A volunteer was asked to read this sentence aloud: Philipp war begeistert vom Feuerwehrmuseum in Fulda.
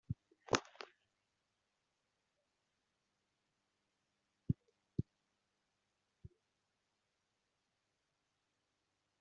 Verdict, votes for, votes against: rejected, 0, 2